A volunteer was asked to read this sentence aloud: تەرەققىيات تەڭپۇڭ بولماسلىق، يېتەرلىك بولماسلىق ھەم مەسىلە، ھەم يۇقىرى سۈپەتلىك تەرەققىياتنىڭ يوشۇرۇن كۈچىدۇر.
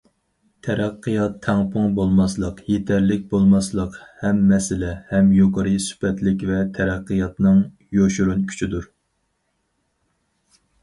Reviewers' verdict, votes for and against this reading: rejected, 2, 2